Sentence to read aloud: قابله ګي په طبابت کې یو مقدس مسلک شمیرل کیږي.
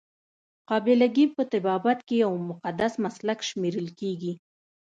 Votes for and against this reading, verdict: 2, 0, accepted